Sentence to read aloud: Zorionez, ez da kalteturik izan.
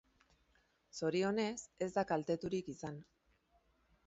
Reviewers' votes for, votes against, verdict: 2, 0, accepted